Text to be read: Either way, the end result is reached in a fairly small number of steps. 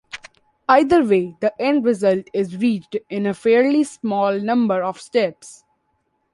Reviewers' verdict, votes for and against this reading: accepted, 2, 0